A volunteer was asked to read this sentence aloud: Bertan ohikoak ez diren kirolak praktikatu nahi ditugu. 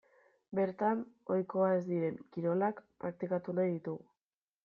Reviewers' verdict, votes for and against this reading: rejected, 1, 2